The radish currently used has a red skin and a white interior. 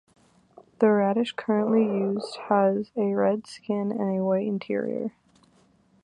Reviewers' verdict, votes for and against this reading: accepted, 2, 1